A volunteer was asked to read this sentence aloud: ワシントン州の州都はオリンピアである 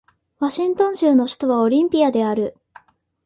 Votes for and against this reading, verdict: 2, 1, accepted